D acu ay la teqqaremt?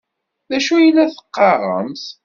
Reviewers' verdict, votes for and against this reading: accepted, 2, 0